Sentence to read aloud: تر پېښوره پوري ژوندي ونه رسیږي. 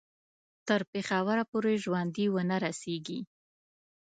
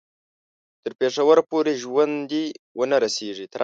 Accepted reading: first